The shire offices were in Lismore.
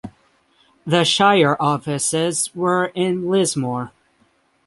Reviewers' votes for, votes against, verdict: 3, 3, rejected